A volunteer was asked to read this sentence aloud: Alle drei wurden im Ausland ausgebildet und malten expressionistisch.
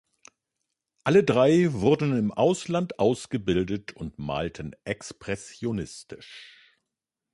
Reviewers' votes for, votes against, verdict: 2, 0, accepted